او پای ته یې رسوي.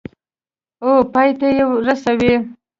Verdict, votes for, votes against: accepted, 2, 0